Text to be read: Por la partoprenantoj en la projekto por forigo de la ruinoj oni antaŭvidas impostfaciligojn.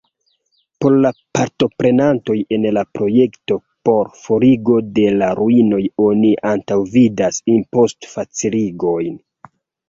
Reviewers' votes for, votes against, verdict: 1, 2, rejected